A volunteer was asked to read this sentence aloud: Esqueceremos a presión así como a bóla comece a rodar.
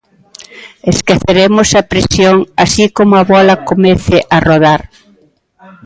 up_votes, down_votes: 1, 2